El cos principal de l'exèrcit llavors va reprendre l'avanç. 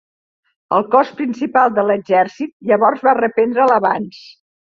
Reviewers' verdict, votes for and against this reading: accepted, 2, 0